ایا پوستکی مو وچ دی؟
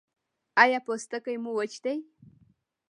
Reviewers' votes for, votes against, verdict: 0, 2, rejected